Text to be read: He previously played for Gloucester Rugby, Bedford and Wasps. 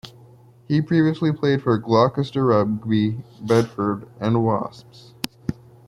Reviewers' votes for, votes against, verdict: 1, 2, rejected